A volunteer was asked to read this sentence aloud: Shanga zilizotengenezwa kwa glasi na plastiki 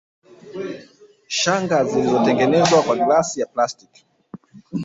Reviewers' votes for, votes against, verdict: 2, 1, accepted